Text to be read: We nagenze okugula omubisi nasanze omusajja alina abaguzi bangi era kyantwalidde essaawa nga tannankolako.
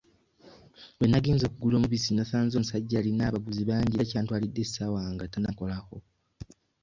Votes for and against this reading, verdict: 2, 1, accepted